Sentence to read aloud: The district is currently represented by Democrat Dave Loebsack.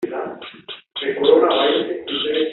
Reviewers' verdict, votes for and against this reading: rejected, 1, 2